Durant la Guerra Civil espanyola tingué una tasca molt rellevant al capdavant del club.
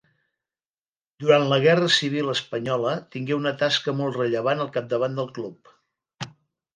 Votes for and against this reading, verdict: 2, 1, accepted